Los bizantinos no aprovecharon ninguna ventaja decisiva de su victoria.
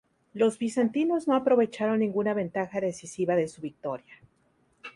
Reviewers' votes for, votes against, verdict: 2, 0, accepted